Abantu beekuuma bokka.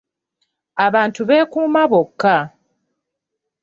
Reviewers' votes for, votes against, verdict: 2, 0, accepted